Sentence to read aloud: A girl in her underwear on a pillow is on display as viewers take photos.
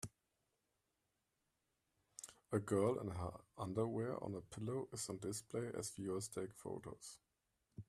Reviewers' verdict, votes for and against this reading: accepted, 2, 0